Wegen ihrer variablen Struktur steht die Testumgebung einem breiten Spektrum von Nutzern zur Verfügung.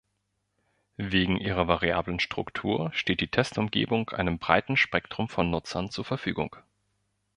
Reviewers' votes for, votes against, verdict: 2, 0, accepted